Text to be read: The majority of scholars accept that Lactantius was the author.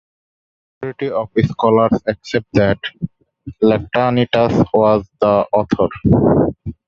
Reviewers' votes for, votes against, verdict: 0, 2, rejected